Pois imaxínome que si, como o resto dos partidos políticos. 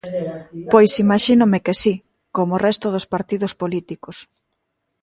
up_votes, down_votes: 1, 2